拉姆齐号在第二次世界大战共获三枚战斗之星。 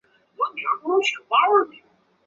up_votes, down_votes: 1, 2